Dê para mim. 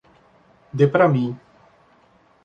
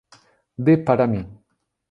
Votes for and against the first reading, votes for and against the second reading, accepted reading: 1, 2, 2, 0, second